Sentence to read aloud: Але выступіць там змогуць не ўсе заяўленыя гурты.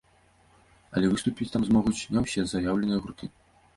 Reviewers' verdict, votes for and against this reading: rejected, 1, 2